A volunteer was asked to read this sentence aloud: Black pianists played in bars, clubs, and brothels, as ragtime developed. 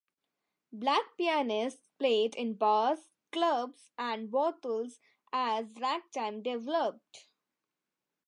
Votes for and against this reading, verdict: 2, 0, accepted